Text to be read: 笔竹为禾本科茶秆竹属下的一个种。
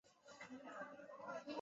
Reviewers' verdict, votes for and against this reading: rejected, 0, 3